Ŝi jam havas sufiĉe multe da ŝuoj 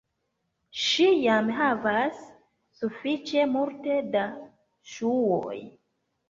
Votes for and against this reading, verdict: 0, 2, rejected